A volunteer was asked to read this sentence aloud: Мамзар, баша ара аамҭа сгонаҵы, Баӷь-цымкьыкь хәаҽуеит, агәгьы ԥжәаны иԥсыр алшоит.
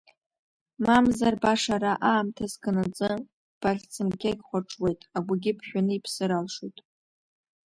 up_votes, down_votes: 1, 3